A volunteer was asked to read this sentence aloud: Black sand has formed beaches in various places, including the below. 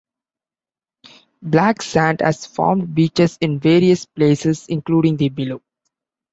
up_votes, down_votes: 2, 0